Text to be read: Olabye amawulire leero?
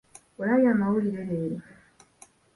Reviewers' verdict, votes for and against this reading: accepted, 2, 0